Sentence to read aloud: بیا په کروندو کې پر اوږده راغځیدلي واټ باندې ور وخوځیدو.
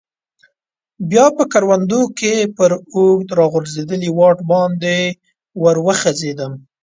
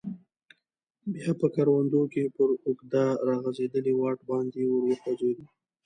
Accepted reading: second